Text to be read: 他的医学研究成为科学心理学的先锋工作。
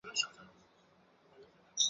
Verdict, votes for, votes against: rejected, 0, 5